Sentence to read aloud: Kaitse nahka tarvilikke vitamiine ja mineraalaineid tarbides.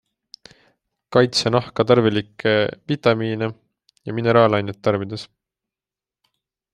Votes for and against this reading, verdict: 2, 0, accepted